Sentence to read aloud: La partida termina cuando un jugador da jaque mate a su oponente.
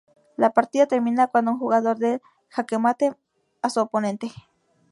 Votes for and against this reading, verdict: 0, 2, rejected